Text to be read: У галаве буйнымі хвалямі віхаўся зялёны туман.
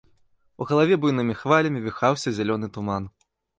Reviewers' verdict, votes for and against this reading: accepted, 2, 0